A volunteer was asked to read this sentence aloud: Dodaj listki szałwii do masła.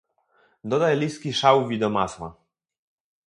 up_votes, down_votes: 2, 0